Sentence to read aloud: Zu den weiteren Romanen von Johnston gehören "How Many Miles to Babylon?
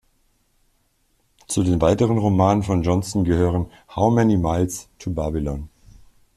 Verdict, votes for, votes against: accepted, 2, 0